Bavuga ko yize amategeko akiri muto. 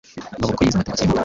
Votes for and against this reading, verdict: 1, 2, rejected